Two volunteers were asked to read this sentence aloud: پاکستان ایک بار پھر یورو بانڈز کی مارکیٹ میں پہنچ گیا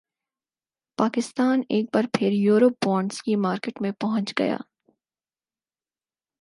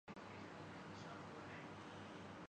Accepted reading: first